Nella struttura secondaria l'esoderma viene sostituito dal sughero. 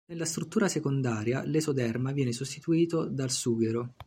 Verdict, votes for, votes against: accepted, 2, 1